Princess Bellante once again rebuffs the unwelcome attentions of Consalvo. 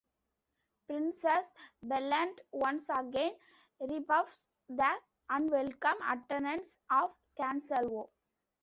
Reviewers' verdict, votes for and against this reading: rejected, 0, 2